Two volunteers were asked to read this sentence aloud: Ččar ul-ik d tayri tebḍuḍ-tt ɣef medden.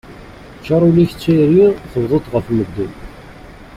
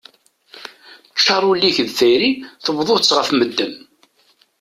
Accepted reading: second